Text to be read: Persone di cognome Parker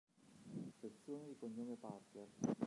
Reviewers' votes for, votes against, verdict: 1, 2, rejected